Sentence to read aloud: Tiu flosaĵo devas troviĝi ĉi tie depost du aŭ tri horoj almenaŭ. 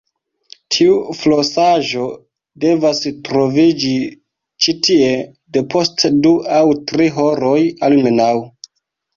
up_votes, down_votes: 2, 1